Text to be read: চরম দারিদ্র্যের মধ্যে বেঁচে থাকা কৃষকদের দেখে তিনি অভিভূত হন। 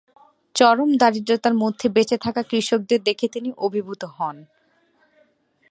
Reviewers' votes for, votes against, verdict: 0, 2, rejected